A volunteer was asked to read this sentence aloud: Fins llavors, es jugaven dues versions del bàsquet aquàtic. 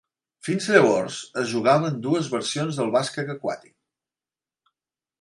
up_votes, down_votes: 2, 0